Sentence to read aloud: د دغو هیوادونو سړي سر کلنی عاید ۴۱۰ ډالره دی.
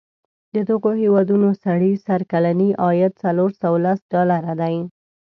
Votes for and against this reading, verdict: 0, 2, rejected